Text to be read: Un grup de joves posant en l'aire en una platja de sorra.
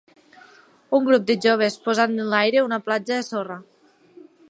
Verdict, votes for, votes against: rejected, 1, 2